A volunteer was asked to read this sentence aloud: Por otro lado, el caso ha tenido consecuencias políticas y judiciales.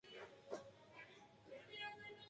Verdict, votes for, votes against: rejected, 0, 2